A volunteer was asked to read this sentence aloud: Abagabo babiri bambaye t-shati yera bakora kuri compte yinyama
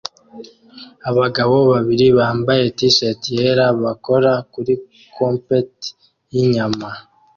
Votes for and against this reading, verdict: 2, 1, accepted